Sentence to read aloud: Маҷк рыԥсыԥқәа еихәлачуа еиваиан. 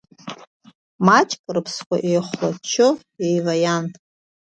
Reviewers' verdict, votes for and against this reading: rejected, 1, 2